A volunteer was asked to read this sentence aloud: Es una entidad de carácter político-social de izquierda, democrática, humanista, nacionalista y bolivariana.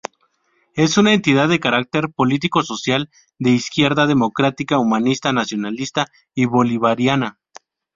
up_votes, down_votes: 2, 0